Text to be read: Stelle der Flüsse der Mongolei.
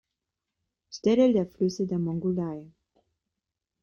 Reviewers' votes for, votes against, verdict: 5, 1, accepted